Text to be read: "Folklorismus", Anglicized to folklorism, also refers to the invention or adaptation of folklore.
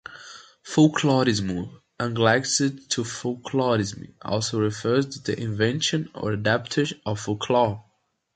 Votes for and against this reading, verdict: 0, 2, rejected